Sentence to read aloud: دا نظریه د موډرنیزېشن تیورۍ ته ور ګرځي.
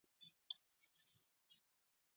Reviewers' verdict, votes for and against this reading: rejected, 1, 2